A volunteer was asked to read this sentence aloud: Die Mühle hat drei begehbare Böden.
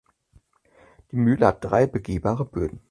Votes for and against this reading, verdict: 2, 4, rejected